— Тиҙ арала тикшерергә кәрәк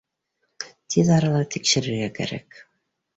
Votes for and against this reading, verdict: 2, 0, accepted